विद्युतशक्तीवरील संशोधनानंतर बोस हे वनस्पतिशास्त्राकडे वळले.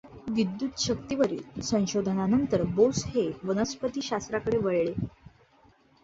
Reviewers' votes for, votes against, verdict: 2, 0, accepted